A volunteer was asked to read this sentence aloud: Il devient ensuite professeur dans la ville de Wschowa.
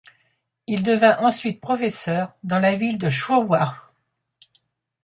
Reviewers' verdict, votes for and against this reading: rejected, 1, 2